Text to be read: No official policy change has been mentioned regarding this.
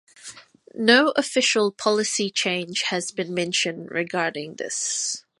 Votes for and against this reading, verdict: 2, 0, accepted